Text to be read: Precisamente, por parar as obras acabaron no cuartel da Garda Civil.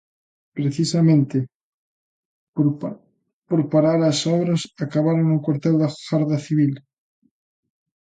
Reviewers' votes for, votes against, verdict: 0, 2, rejected